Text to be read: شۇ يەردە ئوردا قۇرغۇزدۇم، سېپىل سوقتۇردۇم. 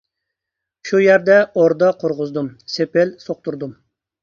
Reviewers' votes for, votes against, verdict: 2, 0, accepted